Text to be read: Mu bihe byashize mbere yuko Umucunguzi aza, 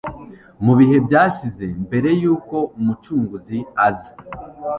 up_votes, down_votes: 2, 0